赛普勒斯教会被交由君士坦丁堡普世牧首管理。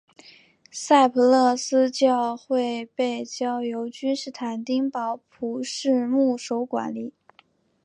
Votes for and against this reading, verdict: 2, 0, accepted